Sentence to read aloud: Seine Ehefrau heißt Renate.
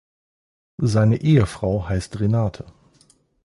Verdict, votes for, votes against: accepted, 2, 0